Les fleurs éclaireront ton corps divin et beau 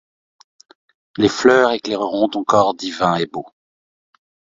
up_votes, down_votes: 2, 0